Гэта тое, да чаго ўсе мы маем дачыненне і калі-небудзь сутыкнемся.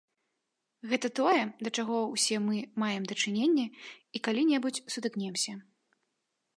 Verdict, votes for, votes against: accepted, 2, 0